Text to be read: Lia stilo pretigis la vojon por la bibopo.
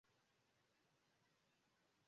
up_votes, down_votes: 0, 2